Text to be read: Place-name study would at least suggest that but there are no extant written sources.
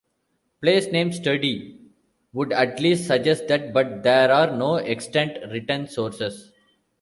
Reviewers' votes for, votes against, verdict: 1, 2, rejected